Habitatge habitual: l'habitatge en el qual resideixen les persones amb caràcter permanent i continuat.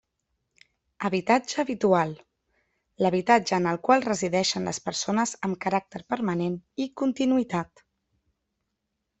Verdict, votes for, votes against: rejected, 0, 2